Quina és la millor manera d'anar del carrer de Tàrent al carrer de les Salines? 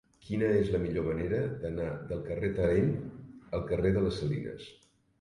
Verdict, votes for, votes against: rejected, 0, 2